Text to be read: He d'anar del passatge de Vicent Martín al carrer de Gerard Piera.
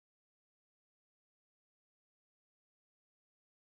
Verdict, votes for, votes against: rejected, 0, 2